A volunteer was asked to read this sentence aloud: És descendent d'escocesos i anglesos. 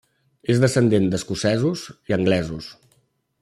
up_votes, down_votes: 3, 1